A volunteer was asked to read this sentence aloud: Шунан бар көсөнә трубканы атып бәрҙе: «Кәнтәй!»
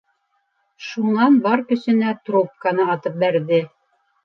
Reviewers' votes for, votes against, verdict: 1, 3, rejected